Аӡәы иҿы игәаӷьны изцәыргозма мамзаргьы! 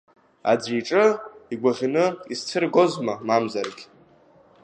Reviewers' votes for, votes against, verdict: 2, 1, accepted